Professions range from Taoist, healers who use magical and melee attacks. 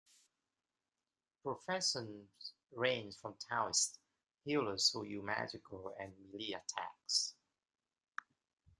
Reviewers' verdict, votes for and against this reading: accepted, 2, 1